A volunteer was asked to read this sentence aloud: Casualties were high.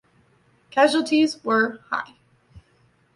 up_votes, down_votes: 2, 0